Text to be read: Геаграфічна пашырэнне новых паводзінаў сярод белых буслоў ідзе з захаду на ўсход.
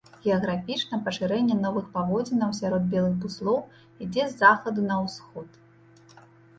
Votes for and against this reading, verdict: 0, 2, rejected